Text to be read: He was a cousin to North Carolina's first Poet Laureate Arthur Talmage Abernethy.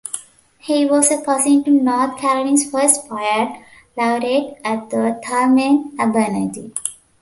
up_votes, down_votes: 0, 2